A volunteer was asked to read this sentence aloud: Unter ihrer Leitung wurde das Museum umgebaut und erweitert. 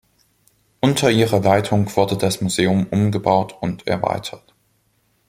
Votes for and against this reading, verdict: 3, 1, accepted